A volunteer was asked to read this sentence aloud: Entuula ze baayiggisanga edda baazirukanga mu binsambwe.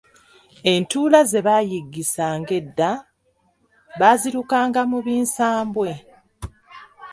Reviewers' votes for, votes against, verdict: 2, 1, accepted